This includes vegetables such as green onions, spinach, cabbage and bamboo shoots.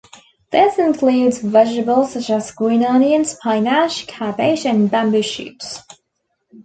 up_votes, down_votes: 0, 2